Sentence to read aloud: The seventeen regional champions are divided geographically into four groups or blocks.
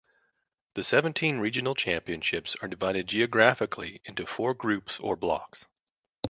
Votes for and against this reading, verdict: 0, 2, rejected